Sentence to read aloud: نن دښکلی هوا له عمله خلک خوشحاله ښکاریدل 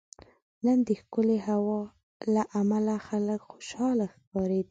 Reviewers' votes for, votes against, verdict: 3, 4, rejected